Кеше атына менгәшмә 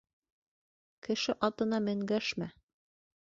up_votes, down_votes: 2, 0